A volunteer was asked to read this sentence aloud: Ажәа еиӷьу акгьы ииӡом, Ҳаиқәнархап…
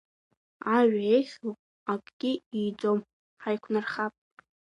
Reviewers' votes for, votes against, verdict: 2, 1, accepted